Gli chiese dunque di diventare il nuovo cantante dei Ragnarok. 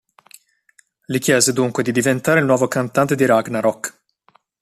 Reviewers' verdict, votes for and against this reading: rejected, 1, 2